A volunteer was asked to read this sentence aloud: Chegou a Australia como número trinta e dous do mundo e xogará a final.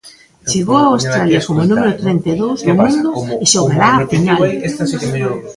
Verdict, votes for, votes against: rejected, 0, 2